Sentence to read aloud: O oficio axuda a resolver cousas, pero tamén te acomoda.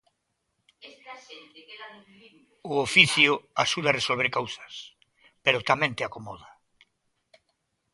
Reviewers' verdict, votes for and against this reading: rejected, 1, 2